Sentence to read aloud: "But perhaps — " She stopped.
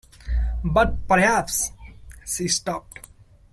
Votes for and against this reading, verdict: 2, 1, accepted